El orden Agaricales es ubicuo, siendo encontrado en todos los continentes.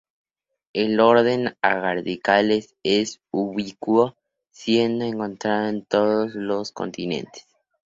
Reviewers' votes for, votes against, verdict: 2, 2, rejected